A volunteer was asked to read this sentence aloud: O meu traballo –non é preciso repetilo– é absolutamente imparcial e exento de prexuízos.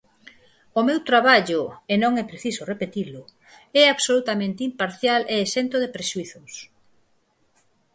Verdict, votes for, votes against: rejected, 2, 4